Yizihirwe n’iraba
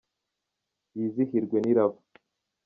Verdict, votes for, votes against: accepted, 2, 0